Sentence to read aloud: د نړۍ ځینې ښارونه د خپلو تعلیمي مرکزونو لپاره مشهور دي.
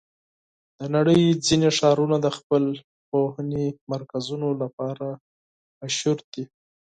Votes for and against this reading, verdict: 2, 4, rejected